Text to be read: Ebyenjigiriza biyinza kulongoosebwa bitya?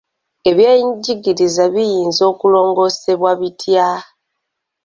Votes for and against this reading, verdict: 1, 2, rejected